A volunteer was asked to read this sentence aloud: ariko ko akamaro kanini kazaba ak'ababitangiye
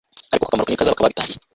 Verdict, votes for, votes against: rejected, 0, 2